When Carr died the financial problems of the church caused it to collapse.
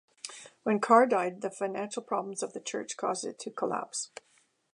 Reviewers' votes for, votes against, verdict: 2, 0, accepted